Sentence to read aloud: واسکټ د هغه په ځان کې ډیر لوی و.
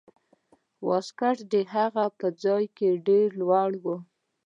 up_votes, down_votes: 0, 2